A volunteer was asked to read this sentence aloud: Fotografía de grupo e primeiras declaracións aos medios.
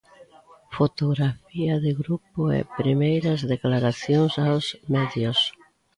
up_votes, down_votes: 0, 2